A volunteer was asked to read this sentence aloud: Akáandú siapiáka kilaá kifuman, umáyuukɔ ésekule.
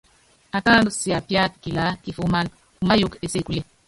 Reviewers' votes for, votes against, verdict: 1, 2, rejected